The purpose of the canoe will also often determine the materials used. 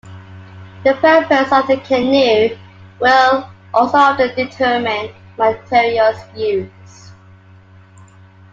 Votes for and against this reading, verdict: 2, 1, accepted